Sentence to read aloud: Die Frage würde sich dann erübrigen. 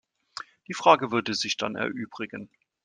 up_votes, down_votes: 2, 0